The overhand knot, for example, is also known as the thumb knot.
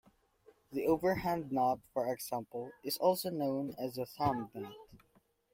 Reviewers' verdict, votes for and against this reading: accepted, 2, 0